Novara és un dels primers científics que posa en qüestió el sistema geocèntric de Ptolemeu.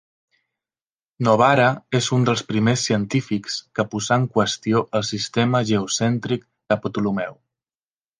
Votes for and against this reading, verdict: 1, 2, rejected